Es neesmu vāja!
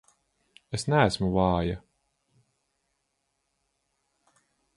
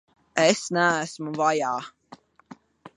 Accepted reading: first